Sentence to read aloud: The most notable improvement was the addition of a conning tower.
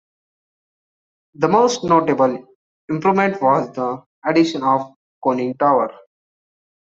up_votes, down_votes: 0, 2